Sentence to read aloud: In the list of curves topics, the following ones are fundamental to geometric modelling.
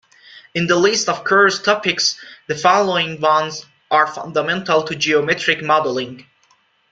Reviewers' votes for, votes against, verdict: 2, 0, accepted